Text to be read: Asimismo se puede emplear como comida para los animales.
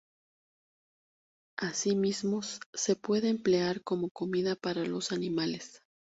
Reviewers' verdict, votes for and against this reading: rejected, 2, 2